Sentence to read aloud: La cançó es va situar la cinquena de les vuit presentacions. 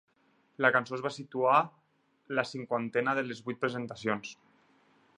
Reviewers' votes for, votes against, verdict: 4, 2, accepted